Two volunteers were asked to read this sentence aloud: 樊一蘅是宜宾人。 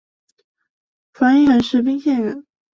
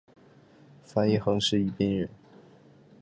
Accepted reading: second